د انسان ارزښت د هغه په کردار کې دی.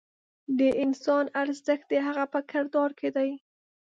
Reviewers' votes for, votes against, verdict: 2, 0, accepted